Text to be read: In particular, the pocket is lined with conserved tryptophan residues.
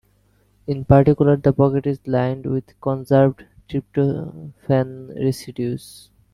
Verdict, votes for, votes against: rejected, 0, 2